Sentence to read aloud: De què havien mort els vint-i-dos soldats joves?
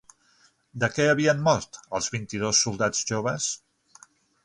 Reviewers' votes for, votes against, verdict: 3, 6, rejected